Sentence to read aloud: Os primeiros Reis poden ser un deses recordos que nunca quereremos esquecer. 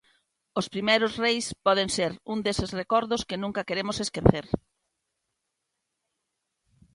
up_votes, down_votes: 1, 2